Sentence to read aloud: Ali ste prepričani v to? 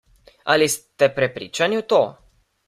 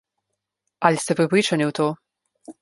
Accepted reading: second